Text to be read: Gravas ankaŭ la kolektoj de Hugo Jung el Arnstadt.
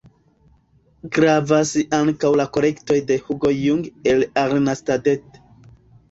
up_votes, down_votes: 2, 0